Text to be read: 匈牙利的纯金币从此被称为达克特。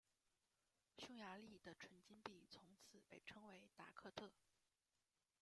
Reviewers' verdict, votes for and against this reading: rejected, 1, 2